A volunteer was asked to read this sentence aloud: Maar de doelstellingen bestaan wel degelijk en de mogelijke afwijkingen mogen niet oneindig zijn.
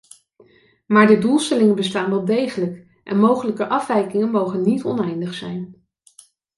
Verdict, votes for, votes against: rejected, 1, 2